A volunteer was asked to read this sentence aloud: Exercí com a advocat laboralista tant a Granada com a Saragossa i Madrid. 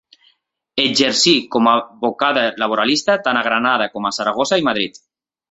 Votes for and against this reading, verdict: 0, 2, rejected